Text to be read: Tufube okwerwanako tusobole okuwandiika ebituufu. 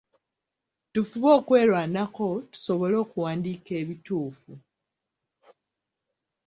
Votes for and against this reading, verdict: 2, 3, rejected